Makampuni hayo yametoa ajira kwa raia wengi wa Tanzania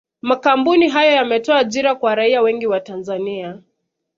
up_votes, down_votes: 2, 0